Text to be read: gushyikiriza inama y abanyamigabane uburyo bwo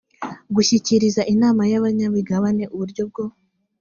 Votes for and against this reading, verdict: 2, 0, accepted